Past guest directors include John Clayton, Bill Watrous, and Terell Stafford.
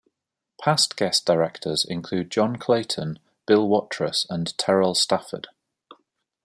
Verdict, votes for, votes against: accepted, 2, 0